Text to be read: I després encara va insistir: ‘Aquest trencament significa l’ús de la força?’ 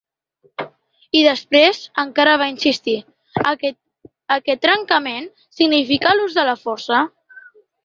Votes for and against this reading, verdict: 1, 3, rejected